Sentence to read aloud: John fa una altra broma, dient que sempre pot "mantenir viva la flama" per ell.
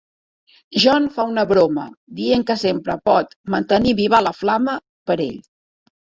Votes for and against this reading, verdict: 0, 2, rejected